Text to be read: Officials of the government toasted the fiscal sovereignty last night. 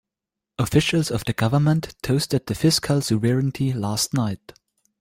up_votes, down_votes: 2, 0